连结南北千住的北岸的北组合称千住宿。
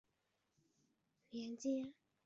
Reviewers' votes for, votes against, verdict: 1, 2, rejected